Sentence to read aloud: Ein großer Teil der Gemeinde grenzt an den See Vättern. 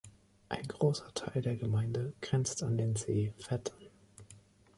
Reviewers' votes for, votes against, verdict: 1, 2, rejected